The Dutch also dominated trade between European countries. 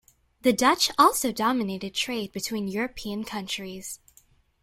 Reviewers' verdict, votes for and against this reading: accepted, 2, 0